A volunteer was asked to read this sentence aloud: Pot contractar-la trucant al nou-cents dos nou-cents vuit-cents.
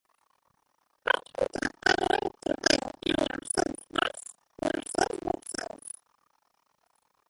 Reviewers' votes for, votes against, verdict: 0, 2, rejected